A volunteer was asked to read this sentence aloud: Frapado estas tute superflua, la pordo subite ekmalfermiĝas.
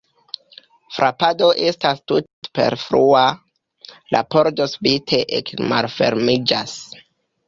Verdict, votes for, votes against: rejected, 0, 2